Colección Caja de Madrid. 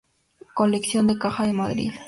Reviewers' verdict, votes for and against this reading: accepted, 2, 0